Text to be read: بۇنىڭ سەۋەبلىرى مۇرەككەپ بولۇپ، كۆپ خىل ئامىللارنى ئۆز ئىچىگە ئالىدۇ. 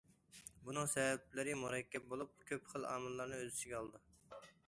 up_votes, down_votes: 2, 0